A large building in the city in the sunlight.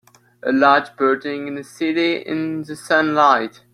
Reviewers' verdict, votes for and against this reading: accepted, 2, 1